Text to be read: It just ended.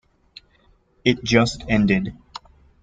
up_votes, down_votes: 2, 0